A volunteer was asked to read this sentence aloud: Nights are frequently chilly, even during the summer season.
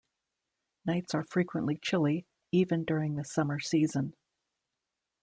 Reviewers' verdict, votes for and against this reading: accepted, 2, 0